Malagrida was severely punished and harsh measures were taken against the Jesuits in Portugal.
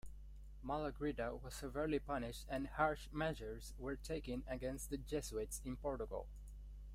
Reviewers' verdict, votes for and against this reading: accepted, 2, 0